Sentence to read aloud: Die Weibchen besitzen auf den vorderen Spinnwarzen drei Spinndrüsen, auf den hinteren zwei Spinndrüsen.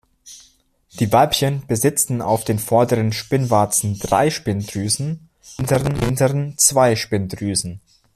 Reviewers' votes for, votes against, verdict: 0, 2, rejected